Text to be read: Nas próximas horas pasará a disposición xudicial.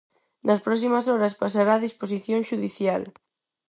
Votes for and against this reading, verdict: 4, 0, accepted